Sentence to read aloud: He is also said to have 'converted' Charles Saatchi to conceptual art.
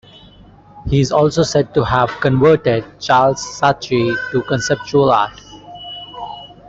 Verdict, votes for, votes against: accepted, 2, 0